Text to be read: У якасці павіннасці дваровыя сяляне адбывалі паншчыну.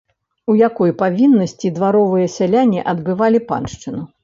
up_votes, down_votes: 1, 2